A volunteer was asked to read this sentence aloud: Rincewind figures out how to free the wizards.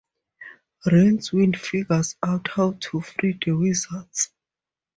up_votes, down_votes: 4, 0